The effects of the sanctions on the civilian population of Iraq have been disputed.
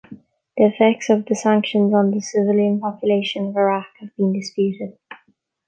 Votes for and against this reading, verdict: 2, 1, accepted